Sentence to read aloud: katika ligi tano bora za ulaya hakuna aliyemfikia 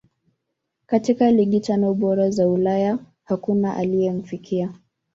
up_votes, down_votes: 0, 2